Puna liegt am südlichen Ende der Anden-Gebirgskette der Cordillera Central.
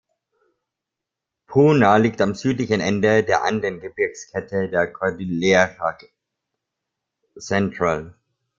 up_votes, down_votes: 1, 3